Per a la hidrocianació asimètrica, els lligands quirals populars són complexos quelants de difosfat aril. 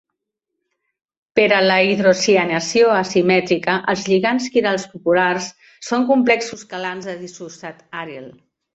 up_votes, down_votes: 0, 2